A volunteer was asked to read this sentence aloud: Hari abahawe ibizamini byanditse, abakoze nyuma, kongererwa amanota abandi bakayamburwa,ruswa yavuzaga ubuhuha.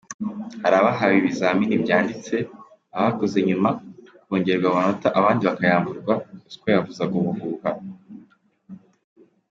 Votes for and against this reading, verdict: 2, 1, accepted